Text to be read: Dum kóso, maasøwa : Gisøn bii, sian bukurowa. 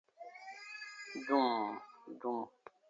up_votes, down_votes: 0, 2